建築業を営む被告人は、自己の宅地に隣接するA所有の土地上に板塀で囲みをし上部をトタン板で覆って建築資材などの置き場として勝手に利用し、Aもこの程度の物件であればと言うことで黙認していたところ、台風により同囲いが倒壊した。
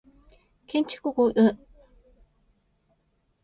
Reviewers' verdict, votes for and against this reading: rejected, 0, 2